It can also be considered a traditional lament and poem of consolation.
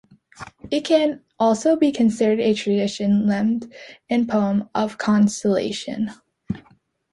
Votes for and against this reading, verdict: 2, 0, accepted